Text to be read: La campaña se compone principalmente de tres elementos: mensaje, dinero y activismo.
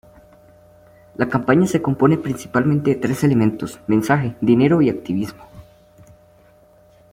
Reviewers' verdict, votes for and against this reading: accepted, 2, 0